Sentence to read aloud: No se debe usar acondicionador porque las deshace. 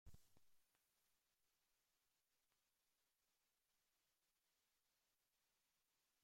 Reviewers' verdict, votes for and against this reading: rejected, 0, 2